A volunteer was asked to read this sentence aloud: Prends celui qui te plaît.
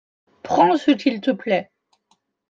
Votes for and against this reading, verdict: 1, 2, rejected